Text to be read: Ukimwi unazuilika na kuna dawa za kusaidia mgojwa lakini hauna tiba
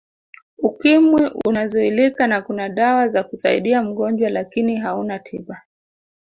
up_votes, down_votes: 1, 2